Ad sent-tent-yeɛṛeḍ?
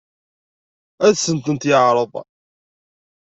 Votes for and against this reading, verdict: 1, 2, rejected